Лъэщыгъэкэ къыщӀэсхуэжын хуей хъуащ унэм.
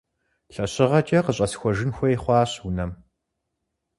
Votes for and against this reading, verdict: 4, 0, accepted